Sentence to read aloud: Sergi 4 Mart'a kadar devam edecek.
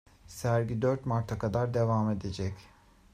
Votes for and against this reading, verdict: 0, 2, rejected